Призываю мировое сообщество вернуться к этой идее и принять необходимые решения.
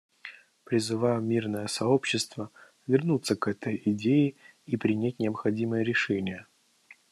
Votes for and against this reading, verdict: 1, 2, rejected